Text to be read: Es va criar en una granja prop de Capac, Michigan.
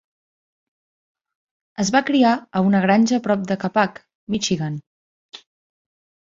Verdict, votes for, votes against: rejected, 1, 2